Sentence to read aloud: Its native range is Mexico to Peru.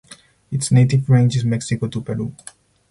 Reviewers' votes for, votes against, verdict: 4, 0, accepted